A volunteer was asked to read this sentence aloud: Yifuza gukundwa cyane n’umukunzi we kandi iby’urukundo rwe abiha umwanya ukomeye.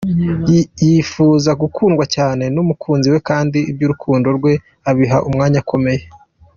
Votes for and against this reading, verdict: 1, 2, rejected